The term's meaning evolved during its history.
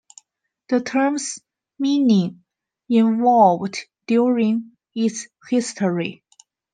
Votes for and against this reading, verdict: 0, 2, rejected